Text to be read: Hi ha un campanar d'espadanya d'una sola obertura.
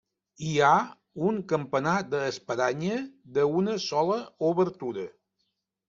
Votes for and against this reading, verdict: 0, 2, rejected